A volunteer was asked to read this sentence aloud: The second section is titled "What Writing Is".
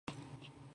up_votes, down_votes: 0, 2